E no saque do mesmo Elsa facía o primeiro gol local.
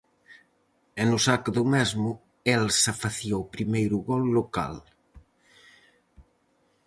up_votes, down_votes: 4, 0